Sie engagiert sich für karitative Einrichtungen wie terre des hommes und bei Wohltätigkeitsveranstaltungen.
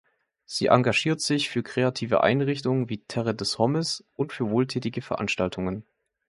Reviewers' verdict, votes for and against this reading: rejected, 0, 2